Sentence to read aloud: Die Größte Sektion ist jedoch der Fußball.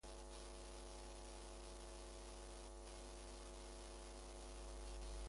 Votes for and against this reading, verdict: 0, 2, rejected